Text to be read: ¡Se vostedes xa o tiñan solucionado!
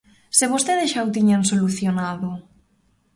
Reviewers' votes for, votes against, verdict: 2, 0, accepted